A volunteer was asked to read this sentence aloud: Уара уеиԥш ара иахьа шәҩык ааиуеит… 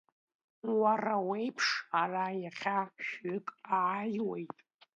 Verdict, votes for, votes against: accepted, 2, 0